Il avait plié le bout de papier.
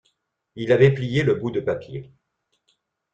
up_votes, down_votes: 3, 0